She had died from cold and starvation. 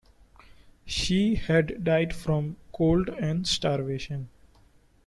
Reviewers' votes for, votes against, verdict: 2, 1, accepted